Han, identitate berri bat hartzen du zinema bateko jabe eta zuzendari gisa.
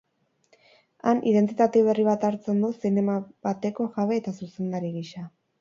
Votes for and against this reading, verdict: 2, 2, rejected